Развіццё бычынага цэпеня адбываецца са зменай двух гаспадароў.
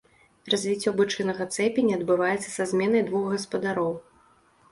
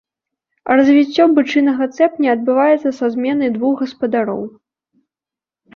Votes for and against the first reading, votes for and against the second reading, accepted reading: 2, 0, 0, 2, first